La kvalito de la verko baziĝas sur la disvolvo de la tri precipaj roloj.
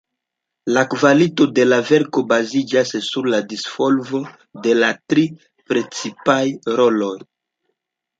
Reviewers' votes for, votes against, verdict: 2, 0, accepted